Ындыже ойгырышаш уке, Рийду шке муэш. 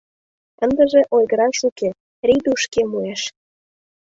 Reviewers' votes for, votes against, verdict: 0, 2, rejected